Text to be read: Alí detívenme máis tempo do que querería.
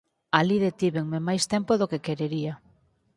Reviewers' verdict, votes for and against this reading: accepted, 4, 0